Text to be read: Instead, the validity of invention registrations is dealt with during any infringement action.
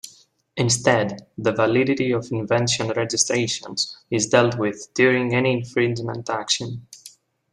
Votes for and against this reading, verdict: 2, 0, accepted